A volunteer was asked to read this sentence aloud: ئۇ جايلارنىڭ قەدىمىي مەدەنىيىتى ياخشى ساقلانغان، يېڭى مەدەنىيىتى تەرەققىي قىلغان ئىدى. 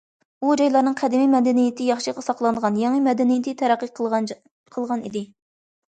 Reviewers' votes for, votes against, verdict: 0, 2, rejected